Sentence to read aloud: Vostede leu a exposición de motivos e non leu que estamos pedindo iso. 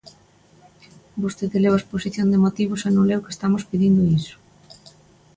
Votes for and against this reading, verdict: 2, 0, accepted